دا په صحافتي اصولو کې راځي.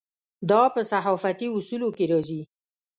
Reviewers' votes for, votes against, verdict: 2, 0, accepted